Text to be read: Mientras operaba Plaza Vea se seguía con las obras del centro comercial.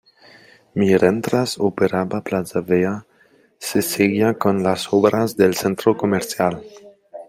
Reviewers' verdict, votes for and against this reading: accepted, 2, 1